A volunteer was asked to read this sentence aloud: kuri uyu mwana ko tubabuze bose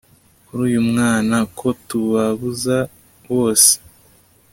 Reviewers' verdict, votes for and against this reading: accepted, 2, 1